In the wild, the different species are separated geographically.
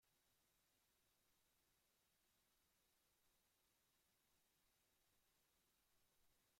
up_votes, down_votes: 0, 2